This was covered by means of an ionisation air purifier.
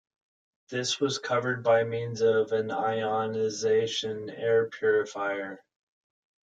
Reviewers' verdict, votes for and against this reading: accepted, 2, 0